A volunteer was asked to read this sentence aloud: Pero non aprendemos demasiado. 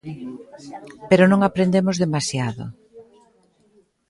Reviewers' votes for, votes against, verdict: 2, 0, accepted